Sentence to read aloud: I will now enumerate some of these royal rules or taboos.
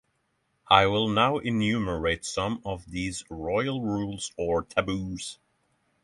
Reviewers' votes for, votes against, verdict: 3, 0, accepted